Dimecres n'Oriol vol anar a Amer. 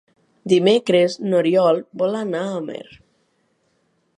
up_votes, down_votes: 2, 0